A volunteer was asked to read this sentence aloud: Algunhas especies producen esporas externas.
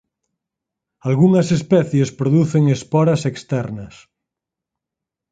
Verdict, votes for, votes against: accepted, 4, 0